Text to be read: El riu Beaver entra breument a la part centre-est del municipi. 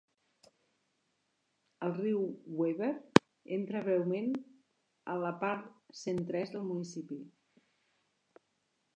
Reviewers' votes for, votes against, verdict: 0, 2, rejected